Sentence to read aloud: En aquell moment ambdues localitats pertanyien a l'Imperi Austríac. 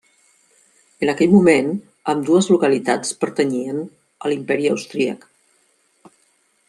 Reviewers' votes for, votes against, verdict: 3, 0, accepted